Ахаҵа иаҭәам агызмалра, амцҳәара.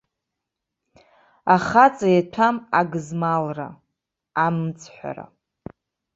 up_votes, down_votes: 1, 2